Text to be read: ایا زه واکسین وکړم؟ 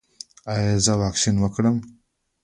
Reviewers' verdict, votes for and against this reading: accepted, 2, 0